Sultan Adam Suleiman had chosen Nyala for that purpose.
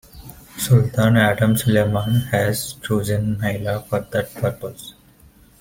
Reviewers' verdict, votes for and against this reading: rejected, 0, 2